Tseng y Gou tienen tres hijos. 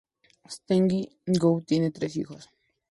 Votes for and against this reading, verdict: 0, 2, rejected